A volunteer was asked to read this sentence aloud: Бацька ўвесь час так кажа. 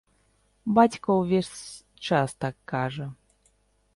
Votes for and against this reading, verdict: 2, 0, accepted